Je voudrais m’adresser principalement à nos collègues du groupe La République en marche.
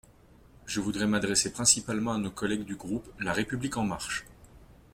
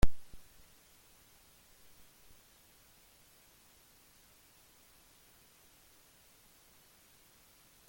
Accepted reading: first